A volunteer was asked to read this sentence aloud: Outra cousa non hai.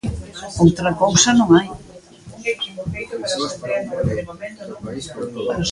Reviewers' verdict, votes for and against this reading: rejected, 0, 2